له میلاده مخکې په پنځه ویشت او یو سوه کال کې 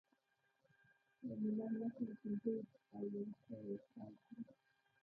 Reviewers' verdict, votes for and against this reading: rejected, 1, 2